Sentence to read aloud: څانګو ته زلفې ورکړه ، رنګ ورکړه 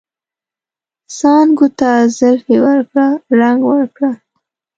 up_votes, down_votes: 2, 0